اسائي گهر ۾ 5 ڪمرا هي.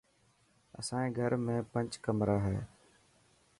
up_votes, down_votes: 0, 2